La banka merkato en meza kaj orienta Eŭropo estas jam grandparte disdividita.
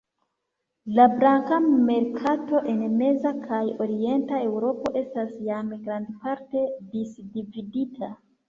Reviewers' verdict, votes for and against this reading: accepted, 2, 1